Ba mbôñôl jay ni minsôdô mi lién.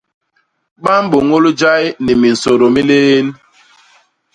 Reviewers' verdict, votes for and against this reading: rejected, 1, 2